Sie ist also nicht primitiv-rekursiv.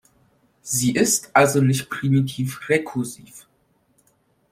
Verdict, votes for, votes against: accepted, 2, 0